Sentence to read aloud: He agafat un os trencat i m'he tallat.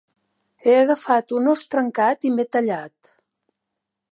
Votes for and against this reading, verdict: 1, 2, rejected